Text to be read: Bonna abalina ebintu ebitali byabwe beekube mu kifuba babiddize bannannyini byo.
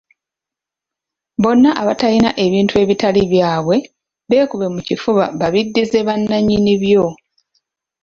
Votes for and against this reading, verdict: 0, 2, rejected